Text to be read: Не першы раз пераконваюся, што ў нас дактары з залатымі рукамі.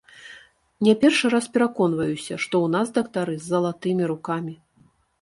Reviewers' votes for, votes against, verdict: 2, 0, accepted